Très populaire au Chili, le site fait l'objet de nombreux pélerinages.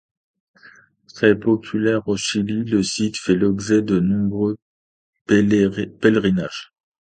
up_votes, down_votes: 0, 2